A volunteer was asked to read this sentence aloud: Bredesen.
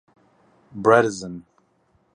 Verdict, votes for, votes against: rejected, 2, 2